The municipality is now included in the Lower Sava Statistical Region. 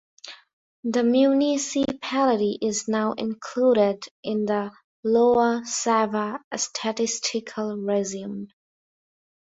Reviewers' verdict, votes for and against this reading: rejected, 0, 2